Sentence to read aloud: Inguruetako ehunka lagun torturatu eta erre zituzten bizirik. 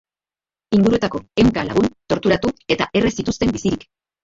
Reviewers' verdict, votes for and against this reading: rejected, 1, 2